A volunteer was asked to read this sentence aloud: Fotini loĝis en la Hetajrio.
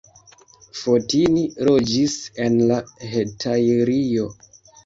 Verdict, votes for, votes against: rejected, 1, 2